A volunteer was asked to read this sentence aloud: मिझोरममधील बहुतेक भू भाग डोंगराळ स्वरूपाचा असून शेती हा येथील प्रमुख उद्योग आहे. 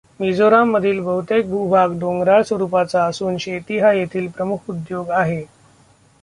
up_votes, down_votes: 0, 2